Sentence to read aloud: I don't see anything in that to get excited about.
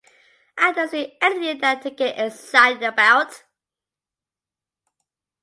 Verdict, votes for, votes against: accepted, 2, 0